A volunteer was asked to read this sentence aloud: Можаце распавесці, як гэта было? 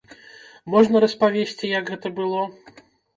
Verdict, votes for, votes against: rejected, 0, 2